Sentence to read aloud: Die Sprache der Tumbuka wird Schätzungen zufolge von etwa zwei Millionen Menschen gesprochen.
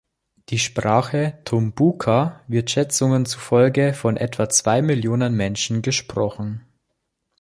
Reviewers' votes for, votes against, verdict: 1, 2, rejected